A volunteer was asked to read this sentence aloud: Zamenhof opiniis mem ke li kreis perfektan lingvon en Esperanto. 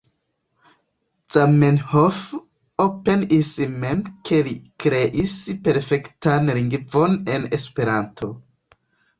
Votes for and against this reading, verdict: 0, 3, rejected